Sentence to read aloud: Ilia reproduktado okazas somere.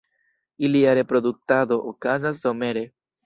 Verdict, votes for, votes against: accepted, 2, 0